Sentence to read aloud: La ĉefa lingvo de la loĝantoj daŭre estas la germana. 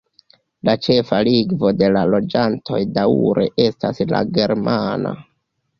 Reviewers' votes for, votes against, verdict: 1, 2, rejected